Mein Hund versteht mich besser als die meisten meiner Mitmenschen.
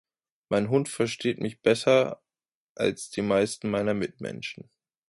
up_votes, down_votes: 2, 0